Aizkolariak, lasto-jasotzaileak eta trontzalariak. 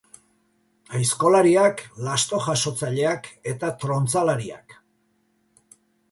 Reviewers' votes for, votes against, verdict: 3, 0, accepted